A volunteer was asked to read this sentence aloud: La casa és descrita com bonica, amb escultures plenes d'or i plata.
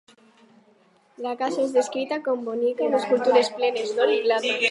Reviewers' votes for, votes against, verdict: 2, 2, rejected